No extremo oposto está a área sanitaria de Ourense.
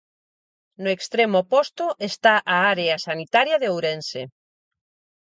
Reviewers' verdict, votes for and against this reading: accepted, 4, 0